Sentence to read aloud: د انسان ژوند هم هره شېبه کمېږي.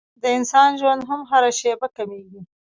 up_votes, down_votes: 1, 2